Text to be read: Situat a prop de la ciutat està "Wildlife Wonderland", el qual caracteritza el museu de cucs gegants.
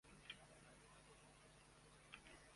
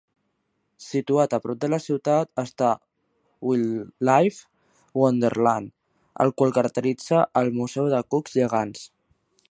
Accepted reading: second